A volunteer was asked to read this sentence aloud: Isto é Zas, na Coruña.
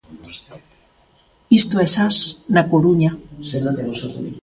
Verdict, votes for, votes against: rejected, 1, 2